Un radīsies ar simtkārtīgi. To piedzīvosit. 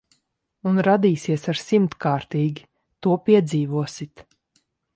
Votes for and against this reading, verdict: 2, 0, accepted